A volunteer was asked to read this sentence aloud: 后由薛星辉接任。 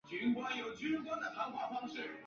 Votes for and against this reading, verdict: 1, 2, rejected